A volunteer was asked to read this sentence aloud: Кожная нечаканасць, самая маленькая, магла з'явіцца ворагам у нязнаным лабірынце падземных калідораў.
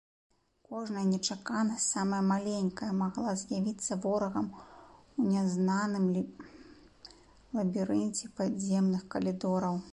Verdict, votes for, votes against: rejected, 0, 2